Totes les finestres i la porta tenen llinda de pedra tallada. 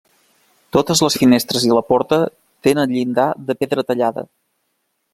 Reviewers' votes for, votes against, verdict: 0, 2, rejected